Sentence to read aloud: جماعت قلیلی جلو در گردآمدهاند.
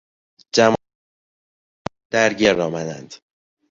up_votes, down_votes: 0, 2